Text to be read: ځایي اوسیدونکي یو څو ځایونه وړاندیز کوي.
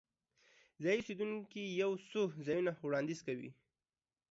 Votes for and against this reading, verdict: 1, 2, rejected